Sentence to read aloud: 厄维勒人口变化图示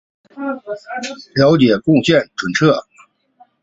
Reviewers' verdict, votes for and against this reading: rejected, 0, 4